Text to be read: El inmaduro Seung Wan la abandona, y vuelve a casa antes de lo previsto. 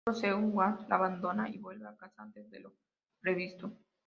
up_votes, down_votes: 0, 2